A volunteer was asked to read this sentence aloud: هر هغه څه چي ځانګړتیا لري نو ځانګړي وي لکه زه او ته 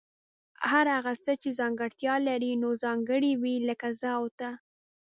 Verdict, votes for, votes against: accepted, 2, 0